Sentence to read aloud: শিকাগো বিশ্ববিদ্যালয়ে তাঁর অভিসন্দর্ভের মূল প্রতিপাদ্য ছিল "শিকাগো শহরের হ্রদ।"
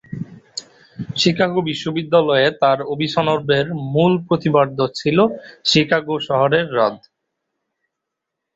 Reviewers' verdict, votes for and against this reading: rejected, 0, 2